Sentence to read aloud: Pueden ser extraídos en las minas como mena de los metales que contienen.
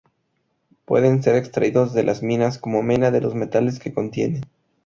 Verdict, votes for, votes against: rejected, 0, 2